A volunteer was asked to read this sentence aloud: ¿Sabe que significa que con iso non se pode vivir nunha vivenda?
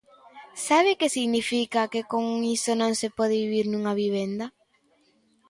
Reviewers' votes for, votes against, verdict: 2, 0, accepted